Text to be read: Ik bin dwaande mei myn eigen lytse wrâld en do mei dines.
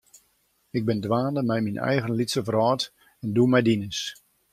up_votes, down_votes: 2, 0